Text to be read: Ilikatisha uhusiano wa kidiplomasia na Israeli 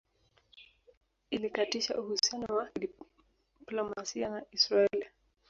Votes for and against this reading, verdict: 0, 2, rejected